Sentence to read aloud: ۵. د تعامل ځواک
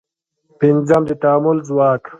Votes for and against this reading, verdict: 0, 2, rejected